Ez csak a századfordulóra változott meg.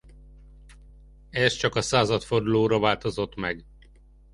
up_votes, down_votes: 2, 0